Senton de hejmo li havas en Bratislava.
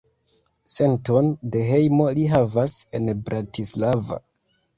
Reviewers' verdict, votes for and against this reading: accepted, 2, 0